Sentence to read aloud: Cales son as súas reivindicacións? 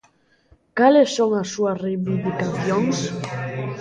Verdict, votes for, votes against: rejected, 1, 2